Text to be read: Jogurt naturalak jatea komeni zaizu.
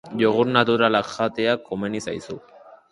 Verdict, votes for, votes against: rejected, 0, 4